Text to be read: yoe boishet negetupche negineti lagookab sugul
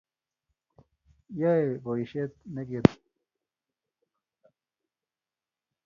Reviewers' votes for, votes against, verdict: 0, 2, rejected